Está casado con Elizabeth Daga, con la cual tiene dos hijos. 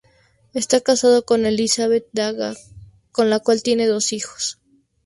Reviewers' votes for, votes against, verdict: 2, 0, accepted